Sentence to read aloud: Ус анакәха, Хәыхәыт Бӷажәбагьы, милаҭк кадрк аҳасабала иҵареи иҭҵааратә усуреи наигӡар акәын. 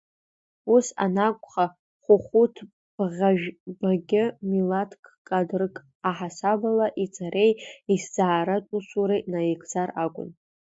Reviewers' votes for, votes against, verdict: 0, 2, rejected